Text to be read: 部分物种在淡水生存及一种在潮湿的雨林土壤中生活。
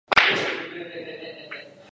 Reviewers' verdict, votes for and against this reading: rejected, 2, 5